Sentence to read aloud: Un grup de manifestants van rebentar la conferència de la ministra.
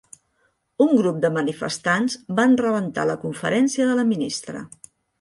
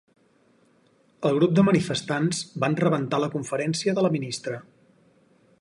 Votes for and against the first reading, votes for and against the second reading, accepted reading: 3, 0, 2, 4, first